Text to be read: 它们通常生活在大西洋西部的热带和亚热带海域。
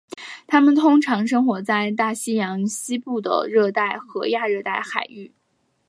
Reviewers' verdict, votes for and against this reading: accepted, 4, 0